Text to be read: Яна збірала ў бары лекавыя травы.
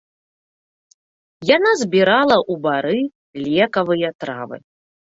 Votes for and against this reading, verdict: 0, 2, rejected